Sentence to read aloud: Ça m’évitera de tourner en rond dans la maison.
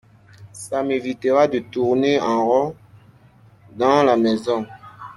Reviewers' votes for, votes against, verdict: 2, 0, accepted